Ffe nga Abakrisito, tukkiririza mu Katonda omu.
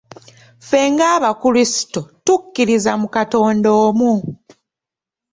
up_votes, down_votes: 2, 0